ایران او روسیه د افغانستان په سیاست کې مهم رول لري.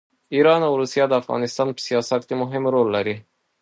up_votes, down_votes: 2, 0